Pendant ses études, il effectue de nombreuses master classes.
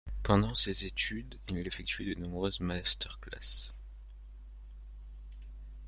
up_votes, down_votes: 2, 1